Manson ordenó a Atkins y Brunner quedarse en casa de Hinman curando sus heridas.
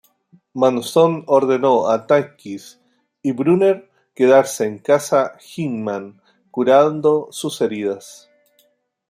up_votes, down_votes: 0, 2